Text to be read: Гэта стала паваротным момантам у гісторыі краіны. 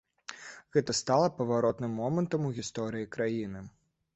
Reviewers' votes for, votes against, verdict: 2, 0, accepted